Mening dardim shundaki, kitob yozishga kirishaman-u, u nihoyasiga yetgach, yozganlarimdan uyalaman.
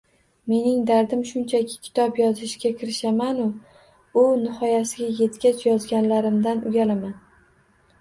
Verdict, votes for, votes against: rejected, 0, 2